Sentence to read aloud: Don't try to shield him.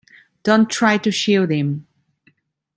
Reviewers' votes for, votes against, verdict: 2, 0, accepted